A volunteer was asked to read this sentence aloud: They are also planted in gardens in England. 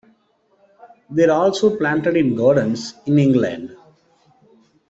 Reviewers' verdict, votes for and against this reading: accepted, 2, 0